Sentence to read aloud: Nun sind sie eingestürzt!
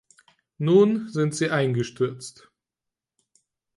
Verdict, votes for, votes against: accepted, 4, 0